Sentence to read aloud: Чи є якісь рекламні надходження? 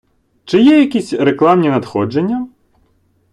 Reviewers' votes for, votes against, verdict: 3, 0, accepted